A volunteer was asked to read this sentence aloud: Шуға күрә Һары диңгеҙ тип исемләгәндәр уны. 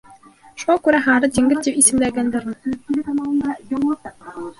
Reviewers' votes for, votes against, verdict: 0, 2, rejected